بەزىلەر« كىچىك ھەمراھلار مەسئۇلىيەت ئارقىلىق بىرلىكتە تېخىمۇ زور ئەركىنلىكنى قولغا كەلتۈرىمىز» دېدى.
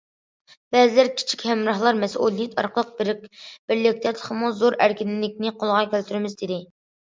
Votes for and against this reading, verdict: 1, 2, rejected